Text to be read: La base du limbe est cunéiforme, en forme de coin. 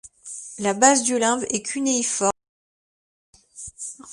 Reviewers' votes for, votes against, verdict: 1, 2, rejected